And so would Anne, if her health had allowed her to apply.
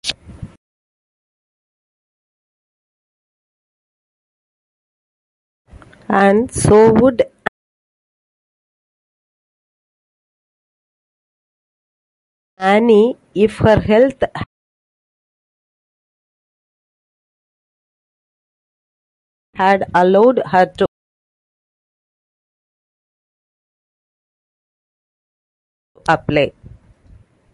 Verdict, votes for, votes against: rejected, 0, 2